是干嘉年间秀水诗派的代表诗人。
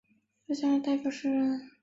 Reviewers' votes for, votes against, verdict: 0, 2, rejected